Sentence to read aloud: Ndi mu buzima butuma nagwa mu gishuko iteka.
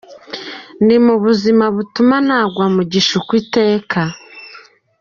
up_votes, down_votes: 2, 1